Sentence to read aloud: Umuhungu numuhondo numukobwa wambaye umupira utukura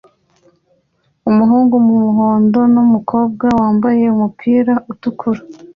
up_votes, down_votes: 2, 0